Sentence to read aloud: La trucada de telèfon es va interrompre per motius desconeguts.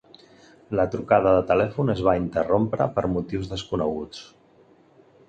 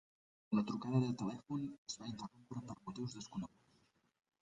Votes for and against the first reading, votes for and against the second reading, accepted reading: 2, 0, 0, 2, first